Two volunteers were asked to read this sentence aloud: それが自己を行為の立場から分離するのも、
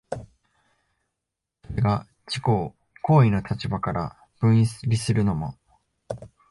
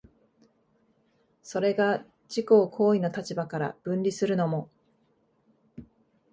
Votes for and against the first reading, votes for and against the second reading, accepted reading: 0, 2, 2, 0, second